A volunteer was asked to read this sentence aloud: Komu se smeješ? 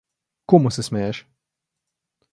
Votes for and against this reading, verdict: 2, 0, accepted